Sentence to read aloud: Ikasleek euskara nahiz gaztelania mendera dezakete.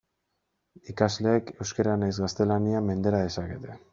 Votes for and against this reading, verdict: 2, 1, accepted